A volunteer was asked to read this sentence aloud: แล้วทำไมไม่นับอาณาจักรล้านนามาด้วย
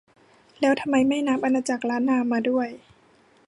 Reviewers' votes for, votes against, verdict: 2, 0, accepted